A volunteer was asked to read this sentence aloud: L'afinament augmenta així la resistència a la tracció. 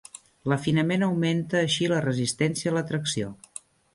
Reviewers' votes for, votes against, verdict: 2, 0, accepted